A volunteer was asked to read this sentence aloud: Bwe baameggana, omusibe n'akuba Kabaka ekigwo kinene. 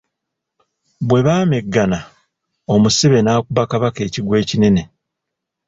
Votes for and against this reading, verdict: 1, 2, rejected